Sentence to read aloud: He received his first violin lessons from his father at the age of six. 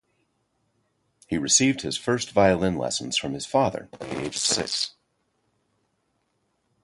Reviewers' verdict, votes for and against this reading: rejected, 2, 2